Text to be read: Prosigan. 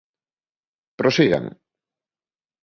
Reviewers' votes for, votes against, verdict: 3, 0, accepted